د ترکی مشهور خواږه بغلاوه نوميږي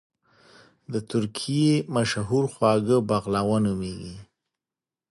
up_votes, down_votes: 2, 0